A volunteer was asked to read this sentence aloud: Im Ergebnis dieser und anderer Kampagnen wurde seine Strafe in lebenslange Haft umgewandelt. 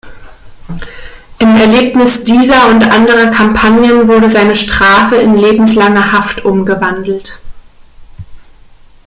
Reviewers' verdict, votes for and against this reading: rejected, 1, 2